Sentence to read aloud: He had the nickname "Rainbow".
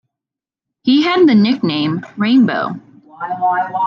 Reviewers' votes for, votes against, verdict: 2, 0, accepted